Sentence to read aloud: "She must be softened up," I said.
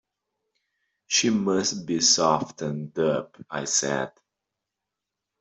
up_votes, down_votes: 2, 0